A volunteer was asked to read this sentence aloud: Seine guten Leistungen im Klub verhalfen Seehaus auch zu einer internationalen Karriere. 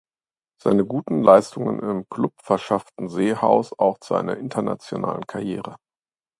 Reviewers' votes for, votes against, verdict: 1, 2, rejected